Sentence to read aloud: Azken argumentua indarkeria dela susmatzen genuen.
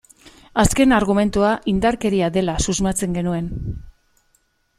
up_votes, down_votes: 2, 0